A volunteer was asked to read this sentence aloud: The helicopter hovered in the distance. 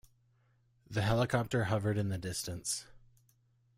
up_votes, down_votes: 2, 1